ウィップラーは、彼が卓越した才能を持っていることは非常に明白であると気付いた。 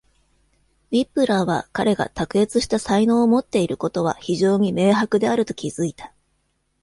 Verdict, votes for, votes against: accepted, 2, 0